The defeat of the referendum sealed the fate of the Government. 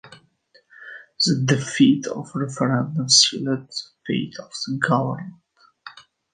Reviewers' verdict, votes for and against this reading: rejected, 1, 3